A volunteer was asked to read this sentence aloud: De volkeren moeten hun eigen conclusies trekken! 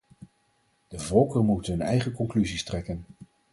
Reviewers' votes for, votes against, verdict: 2, 2, rejected